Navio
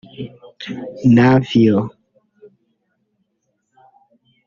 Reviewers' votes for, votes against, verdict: 2, 3, rejected